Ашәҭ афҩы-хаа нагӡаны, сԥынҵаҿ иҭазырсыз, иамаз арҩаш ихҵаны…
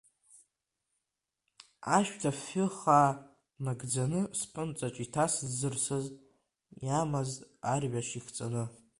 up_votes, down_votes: 1, 2